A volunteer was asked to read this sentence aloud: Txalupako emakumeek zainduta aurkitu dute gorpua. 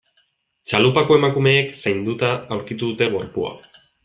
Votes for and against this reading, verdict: 2, 0, accepted